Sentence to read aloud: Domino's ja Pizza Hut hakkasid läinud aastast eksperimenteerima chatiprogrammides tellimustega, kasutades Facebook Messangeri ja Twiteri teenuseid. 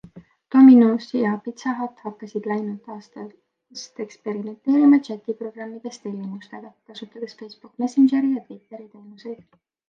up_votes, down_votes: 4, 0